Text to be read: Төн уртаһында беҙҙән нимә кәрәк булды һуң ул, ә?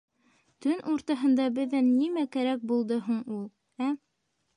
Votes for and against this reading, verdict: 2, 0, accepted